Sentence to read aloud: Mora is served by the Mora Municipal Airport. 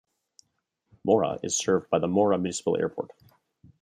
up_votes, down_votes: 2, 0